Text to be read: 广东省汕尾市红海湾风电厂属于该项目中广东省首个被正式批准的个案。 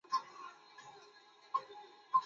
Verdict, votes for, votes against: rejected, 0, 3